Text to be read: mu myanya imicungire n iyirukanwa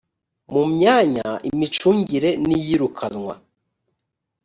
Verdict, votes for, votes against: accepted, 2, 0